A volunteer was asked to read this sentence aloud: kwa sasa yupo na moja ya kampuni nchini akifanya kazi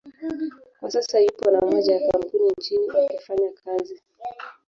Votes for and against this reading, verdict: 1, 2, rejected